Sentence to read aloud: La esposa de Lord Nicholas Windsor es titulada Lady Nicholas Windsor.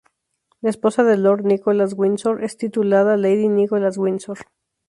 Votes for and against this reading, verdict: 2, 0, accepted